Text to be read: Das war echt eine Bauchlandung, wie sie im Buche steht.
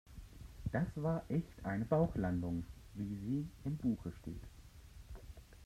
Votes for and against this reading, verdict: 0, 2, rejected